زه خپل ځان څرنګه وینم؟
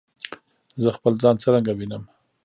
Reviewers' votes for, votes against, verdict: 2, 0, accepted